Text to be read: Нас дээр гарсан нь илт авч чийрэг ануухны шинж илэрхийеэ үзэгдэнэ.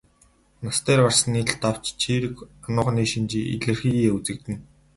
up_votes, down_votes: 6, 0